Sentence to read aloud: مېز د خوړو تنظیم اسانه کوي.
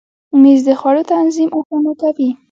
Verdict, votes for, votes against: accepted, 2, 0